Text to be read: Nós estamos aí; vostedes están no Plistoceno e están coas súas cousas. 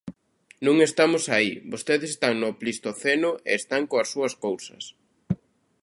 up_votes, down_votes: 0, 3